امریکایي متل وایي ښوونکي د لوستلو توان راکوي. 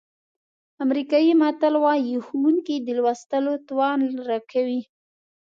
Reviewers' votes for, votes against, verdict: 2, 0, accepted